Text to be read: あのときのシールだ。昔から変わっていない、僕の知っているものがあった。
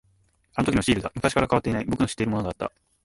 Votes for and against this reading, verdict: 1, 2, rejected